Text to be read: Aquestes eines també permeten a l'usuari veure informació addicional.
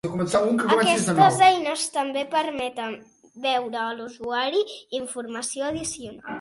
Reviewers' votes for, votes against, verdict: 0, 3, rejected